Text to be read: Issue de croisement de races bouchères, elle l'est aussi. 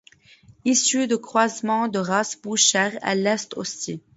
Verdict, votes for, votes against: rejected, 0, 2